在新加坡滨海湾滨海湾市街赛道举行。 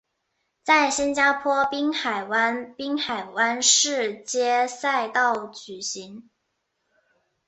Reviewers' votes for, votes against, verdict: 0, 2, rejected